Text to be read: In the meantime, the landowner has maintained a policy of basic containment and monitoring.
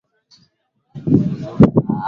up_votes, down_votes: 0, 2